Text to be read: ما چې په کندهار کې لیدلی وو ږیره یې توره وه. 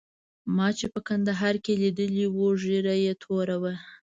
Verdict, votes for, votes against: rejected, 1, 2